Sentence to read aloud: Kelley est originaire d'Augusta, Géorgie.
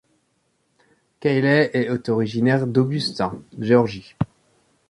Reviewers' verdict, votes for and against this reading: rejected, 1, 2